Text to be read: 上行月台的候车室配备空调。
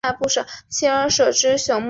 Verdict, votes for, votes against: rejected, 1, 2